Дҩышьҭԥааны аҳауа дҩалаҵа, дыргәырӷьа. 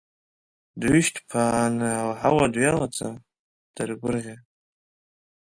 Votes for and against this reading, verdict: 0, 2, rejected